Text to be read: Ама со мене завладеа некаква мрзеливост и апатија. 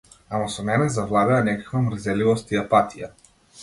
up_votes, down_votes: 2, 0